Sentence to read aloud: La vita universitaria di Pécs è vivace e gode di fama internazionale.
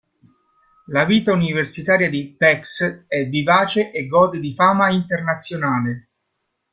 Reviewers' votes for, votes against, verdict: 2, 0, accepted